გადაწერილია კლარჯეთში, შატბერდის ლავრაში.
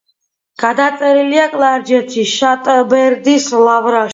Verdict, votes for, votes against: accepted, 2, 1